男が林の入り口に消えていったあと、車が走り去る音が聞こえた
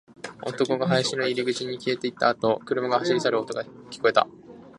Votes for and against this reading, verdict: 12, 2, accepted